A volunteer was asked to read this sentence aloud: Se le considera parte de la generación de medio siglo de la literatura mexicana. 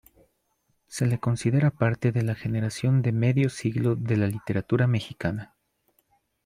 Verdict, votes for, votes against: accepted, 2, 0